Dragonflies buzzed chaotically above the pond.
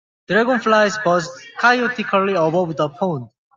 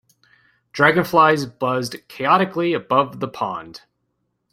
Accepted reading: second